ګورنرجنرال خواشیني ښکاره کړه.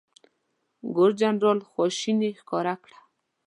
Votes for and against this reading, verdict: 1, 2, rejected